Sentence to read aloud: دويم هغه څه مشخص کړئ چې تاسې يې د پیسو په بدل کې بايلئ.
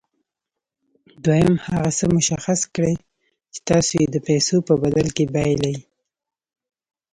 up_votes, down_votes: 2, 0